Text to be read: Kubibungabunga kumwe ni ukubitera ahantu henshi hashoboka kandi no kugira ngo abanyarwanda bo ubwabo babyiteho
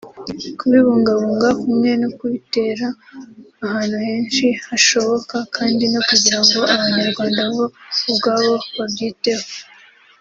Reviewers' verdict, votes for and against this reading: accepted, 3, 0